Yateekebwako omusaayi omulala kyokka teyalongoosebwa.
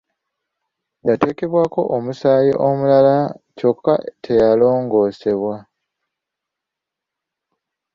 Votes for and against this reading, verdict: 2, 0, accepted